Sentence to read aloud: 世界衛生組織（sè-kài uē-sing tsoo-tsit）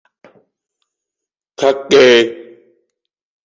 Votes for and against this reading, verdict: 0, 2, rejected